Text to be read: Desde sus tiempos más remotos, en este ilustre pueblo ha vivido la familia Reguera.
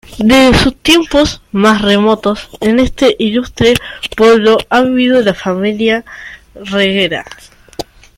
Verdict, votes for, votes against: accepted, 2, 1